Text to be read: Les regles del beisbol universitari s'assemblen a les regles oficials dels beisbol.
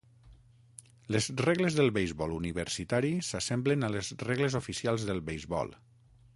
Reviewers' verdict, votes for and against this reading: accepted, 6, 0